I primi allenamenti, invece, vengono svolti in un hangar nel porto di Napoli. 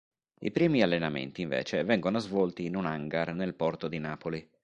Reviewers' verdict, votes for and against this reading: accepted, 4, 0